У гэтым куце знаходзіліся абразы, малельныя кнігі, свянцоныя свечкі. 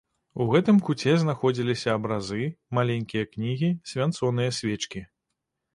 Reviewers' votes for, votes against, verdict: 0, 2, rejected